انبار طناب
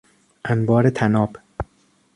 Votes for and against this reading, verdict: 2, 0, accepted